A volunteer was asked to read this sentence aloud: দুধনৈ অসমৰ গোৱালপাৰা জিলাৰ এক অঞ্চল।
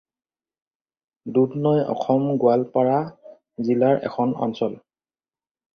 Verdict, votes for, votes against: rejected, 0, 4